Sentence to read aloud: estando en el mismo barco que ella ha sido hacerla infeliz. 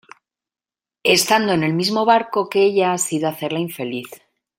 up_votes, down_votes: 2, 0